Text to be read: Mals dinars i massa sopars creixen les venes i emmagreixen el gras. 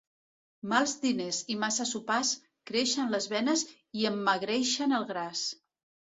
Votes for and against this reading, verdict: 0, 2, rejected